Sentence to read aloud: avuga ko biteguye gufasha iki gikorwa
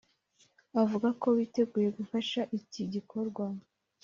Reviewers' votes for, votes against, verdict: 2, 0, accepted